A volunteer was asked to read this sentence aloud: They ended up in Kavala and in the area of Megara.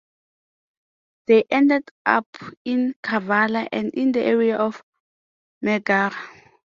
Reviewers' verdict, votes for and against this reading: accepted, 3, 2